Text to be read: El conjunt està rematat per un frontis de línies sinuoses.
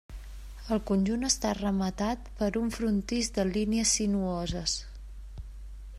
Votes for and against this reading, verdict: 0, 2, rejected